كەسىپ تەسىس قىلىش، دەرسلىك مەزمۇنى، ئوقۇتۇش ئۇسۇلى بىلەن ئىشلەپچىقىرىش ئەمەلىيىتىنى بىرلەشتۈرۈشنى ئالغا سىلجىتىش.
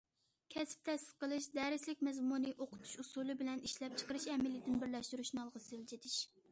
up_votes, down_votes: 2, 0